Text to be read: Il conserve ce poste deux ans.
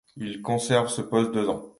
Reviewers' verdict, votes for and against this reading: accepted, 2, 0